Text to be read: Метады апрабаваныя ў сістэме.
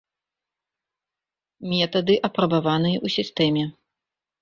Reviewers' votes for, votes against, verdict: 2, 0, accepted